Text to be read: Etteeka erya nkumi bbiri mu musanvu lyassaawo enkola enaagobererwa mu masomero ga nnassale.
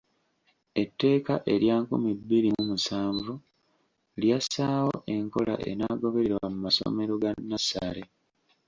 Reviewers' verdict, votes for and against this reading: accepted, 3, 0